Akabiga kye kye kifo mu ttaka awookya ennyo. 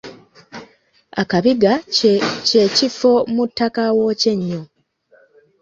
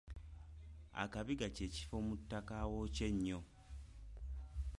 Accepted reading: second